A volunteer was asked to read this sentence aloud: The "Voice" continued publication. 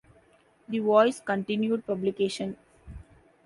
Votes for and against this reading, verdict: 2, 0, accepted